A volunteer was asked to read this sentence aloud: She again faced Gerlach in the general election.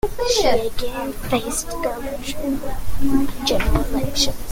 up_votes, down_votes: 0, 2